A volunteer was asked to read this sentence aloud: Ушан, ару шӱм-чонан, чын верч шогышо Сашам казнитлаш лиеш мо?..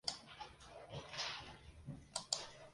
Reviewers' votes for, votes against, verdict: 0, 2, rejected